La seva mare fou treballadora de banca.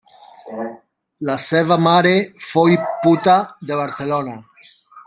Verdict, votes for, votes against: rejected, 0, 2